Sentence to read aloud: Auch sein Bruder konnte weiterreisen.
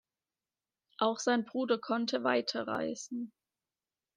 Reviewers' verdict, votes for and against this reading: accepted, 2, 1